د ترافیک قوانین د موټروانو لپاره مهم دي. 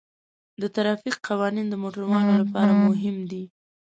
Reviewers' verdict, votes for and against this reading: rejected, 0, 2